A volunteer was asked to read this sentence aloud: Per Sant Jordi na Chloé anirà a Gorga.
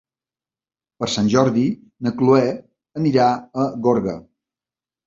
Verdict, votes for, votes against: accepted, 2, 0